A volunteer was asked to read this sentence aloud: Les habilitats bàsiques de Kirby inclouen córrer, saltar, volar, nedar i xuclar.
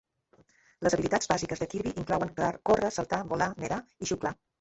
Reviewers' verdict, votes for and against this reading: rejected, 1, 3